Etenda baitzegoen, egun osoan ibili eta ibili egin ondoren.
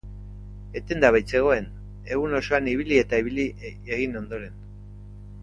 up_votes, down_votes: 0, 2